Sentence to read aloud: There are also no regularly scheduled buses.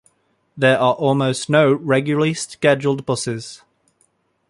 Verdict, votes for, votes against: accepted, 2, 1